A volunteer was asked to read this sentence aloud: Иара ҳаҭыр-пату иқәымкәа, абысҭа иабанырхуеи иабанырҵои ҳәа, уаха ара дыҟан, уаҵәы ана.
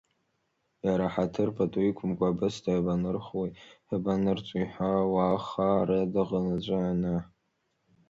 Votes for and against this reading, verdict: 3, 1, accepted